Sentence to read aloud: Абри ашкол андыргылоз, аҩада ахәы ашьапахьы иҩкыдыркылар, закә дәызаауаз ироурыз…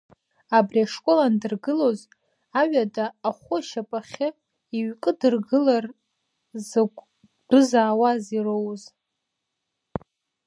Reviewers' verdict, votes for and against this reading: rejected, 1, 2